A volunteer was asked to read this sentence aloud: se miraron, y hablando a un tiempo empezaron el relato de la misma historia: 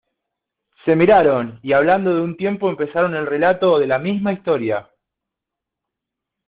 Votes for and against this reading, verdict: 2, 0, accepted